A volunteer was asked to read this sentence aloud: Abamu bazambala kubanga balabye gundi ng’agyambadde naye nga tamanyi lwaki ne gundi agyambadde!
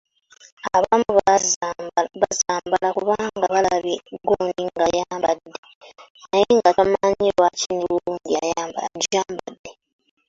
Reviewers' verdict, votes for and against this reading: rejected, 0, 2